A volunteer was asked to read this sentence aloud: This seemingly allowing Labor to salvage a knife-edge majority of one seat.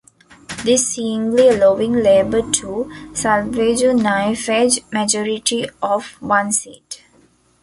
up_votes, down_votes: 0, 2